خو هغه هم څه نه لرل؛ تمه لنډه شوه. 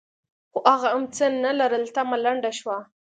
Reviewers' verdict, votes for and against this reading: accepted, 2, 0